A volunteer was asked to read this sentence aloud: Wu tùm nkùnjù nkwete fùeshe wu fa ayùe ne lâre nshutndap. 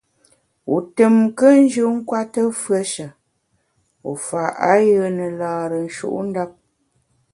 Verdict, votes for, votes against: accepted, 3, 0